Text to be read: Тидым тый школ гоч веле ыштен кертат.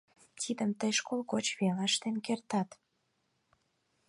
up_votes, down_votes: 4, 2